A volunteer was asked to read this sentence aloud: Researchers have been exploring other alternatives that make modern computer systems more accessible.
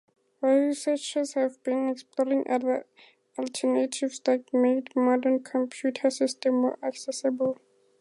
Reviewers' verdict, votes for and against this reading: accepted, 6, 0